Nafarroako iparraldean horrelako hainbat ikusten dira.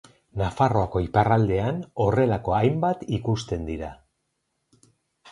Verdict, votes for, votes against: accepted, 4, 0